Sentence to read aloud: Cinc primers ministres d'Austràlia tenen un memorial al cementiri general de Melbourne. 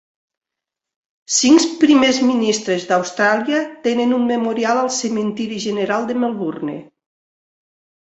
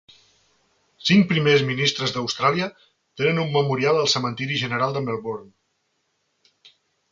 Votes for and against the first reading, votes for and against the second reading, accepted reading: 1, 2, 4, 0, second